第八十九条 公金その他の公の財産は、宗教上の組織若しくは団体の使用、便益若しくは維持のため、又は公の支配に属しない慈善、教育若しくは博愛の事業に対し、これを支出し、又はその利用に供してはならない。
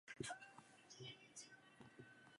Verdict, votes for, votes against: rejected, 0, 8